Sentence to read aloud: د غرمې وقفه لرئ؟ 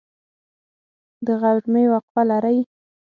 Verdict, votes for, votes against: accepted, 6, 0